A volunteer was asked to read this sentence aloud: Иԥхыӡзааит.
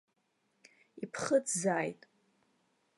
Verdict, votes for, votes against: accepted, 2, 0